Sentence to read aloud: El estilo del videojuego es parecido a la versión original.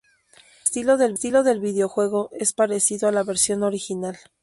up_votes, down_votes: 2, 8